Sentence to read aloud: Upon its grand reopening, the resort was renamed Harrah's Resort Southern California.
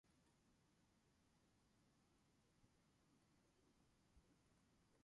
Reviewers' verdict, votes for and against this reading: rejected, 0, 2